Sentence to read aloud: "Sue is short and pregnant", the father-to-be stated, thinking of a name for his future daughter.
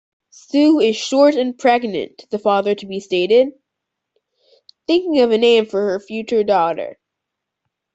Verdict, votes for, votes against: rejected, 0, 2